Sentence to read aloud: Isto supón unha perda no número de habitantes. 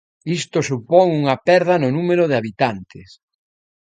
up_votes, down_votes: 2, 0